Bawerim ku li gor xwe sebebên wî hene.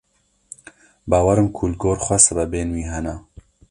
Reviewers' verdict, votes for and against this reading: accepted, 2, 0